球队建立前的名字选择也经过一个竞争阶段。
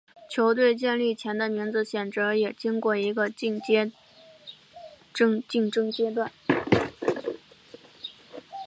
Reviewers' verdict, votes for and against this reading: accepted, 3, 0